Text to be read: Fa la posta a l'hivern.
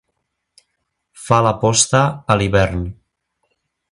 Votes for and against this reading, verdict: 2, 0, accepted